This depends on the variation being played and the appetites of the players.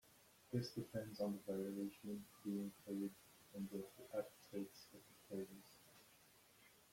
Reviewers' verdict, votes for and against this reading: rejected, 0, 2